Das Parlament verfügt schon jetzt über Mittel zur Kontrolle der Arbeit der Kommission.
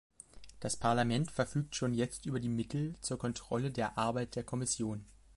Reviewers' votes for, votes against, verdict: 0, 2, rejected